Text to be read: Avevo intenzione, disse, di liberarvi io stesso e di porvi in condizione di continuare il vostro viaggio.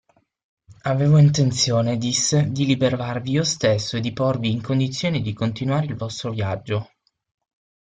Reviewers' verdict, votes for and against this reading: rejected, 0, 6